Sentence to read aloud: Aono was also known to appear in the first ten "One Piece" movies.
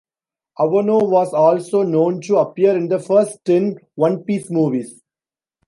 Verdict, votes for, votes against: rejected, 0, 2